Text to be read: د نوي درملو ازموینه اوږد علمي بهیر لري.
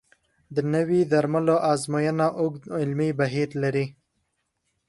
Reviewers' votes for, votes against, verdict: 2, 0, accepted